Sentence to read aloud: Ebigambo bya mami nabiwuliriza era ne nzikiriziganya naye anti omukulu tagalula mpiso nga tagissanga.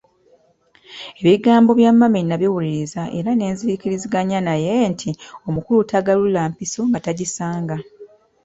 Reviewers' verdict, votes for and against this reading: rejected, 1, 2